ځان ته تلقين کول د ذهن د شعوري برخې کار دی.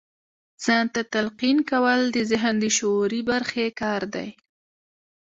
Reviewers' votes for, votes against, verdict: 2, 0, accepted